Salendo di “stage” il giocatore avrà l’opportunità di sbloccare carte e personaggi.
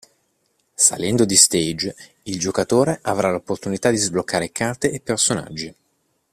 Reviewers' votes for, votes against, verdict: 2, 0, accepted